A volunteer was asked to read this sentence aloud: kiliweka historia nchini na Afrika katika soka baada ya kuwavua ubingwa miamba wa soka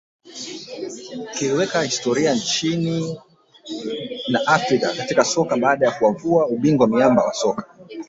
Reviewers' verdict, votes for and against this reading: accepted, 2, 0